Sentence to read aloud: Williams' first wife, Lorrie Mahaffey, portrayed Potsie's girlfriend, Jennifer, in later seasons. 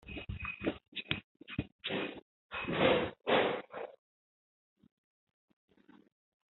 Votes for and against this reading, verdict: 0, 2, rejected